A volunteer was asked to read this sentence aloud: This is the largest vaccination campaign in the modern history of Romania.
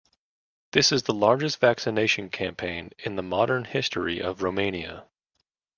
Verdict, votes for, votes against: accepted, 2, 0